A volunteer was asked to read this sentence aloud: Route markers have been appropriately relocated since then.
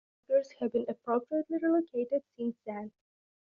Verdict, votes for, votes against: rejected, 1, 2